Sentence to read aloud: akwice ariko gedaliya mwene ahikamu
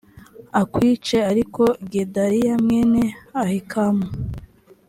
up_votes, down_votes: 2, 0